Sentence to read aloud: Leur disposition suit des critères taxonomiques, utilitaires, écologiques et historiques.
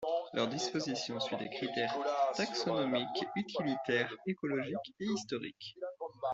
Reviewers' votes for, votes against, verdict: 0, 2, rejected